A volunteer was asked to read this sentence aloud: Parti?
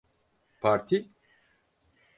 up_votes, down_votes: 4, 0